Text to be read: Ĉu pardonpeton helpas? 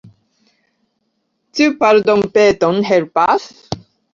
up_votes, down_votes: 2, 1